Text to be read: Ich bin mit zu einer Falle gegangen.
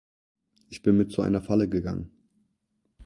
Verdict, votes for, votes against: accepted, 4, 0